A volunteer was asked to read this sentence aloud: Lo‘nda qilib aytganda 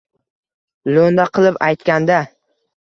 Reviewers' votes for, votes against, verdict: 2, 0, accepted